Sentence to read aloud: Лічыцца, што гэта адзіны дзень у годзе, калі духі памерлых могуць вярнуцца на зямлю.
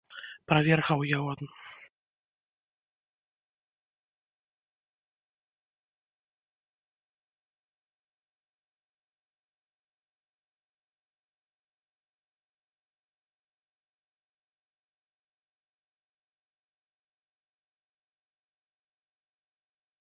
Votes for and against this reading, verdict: 0, 2, rejected